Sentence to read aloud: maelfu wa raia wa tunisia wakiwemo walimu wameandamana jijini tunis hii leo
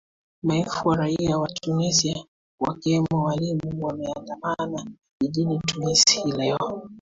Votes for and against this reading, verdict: 2, 0, accepted